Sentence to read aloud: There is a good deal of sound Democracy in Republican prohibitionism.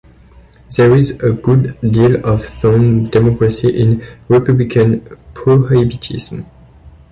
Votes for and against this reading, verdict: 1, 2, rejected